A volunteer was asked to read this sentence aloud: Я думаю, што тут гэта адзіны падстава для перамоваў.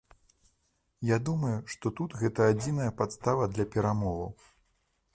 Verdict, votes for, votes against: rejected, 0, 2